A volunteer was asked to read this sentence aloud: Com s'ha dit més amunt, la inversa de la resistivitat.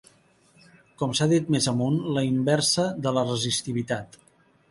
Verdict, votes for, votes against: accepted, 3, 0